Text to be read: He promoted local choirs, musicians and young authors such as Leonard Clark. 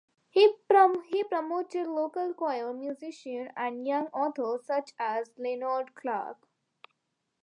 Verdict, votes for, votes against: rejected, 0, 2